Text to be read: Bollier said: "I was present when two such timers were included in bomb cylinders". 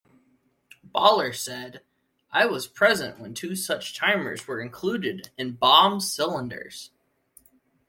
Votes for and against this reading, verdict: 0, 2, rejected